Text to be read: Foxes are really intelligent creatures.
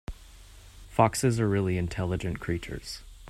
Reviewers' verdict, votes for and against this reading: accepted, 2, 0